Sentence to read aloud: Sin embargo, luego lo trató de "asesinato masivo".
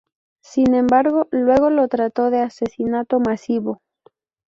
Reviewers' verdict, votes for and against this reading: accepted, 2, 0